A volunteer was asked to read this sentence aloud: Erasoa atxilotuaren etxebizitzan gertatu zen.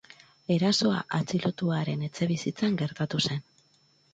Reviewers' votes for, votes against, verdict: 2, 0, accepted